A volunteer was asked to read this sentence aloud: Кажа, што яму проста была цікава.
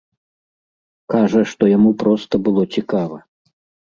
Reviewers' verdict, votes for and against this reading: rejected, 1, 2